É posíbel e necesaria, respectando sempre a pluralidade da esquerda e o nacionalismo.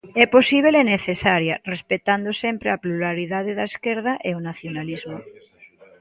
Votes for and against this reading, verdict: 1, 2, rejected